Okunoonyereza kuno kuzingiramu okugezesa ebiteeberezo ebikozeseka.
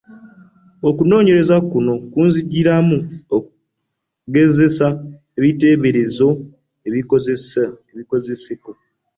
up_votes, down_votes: 0, 2